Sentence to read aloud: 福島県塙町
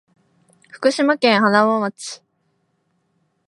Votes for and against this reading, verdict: 2, 0, accepted